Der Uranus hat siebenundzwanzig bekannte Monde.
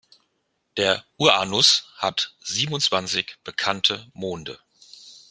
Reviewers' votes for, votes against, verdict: 0, 2, rejected